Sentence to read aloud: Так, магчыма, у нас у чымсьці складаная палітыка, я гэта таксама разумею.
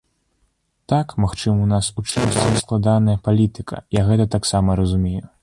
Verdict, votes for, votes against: rejected, 0, 2